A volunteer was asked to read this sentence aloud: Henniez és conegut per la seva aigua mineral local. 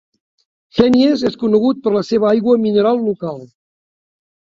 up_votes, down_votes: 2, 0